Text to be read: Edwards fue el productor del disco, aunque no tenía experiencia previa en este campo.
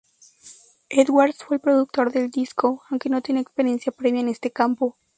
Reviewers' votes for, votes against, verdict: 0, 2, rejected